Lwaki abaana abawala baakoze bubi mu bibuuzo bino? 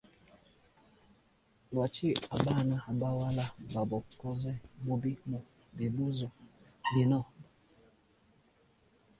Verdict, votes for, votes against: rejected, 0, 2